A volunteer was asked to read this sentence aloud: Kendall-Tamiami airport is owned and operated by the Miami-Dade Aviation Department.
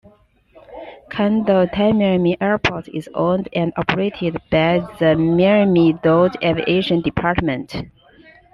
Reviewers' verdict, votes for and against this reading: rejected, 0, 2